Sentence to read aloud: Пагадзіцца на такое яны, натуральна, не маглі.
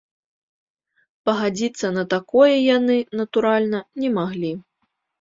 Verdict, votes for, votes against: accepted, 2, 0